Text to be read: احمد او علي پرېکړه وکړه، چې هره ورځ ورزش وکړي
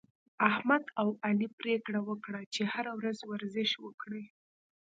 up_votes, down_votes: 2, 0